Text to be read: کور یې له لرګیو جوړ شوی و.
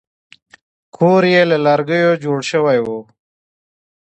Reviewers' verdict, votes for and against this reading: accepted, 2, 0